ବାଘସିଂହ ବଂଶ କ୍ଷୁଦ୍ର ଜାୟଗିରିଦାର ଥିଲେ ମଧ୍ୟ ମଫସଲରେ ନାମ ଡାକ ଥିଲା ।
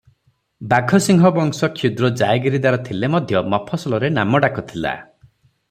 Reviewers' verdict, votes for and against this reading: rejected, 0, 3